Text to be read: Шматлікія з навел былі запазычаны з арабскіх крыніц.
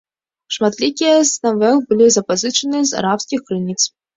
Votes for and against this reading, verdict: 2, 0, accepted